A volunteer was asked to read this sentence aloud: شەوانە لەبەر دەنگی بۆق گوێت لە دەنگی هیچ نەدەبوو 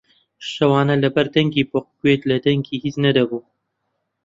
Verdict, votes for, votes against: accepted, 2, 0